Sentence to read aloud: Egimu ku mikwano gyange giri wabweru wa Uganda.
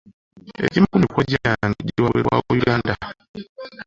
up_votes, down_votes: 1, 2